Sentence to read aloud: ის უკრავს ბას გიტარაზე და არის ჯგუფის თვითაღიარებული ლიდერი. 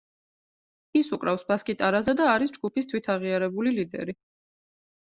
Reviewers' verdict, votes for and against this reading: accepted, 2, 0